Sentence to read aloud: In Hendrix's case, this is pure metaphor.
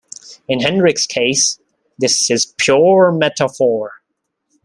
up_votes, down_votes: 0, 2